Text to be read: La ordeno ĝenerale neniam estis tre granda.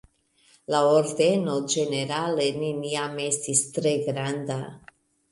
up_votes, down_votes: 1, 2